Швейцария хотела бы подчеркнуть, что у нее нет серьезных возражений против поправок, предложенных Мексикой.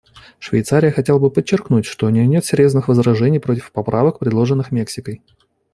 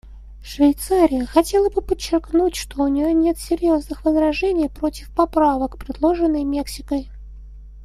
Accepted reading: first